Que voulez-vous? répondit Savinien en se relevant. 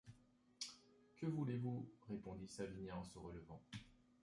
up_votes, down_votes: 2, 0